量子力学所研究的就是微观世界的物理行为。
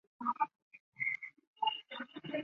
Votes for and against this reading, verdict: 0, 2, rejected